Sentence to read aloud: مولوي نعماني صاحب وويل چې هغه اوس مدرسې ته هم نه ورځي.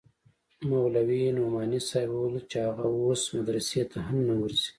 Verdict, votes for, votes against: accepted, 2, 0